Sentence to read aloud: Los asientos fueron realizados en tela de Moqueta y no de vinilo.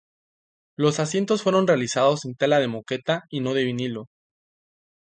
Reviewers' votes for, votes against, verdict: 2, 0, accepted